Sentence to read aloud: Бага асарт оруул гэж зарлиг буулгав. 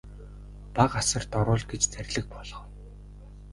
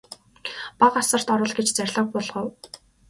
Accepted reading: second